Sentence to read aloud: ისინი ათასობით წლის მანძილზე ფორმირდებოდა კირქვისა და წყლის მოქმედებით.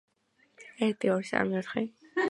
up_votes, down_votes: 0, 2